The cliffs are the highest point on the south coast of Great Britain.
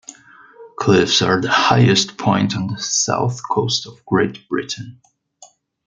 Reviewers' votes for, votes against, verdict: 2, 0, accepted